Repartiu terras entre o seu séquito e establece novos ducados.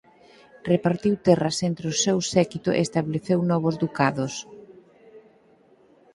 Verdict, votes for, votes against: rejected, 0, 4